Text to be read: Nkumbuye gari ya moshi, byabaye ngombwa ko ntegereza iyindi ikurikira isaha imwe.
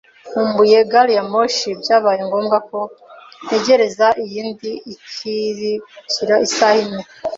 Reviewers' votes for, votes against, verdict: 1, 2, rejected